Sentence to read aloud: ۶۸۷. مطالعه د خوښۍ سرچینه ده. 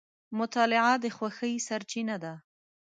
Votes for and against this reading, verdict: 0, 2, rejected